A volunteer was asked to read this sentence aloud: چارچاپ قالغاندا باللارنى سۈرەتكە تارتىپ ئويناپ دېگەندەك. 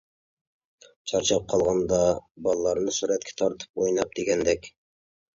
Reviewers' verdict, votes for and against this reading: accepted, 2, 0